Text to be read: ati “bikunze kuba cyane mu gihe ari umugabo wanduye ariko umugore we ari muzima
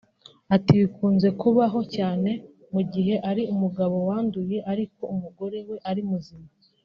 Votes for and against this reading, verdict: 1, 2, rejected